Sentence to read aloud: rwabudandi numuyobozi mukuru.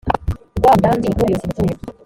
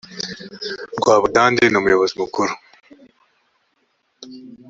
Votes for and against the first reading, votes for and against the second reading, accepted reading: 1, 2, 2, 0, second